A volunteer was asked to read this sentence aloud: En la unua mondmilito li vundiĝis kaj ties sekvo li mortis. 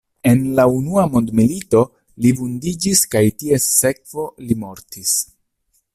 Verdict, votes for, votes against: accepted, 2, 0